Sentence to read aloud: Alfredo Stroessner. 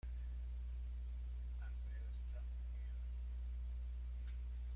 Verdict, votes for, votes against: rejected, 0, 2